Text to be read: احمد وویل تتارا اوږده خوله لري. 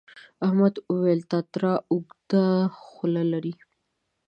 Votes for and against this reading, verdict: 1, 2, rejected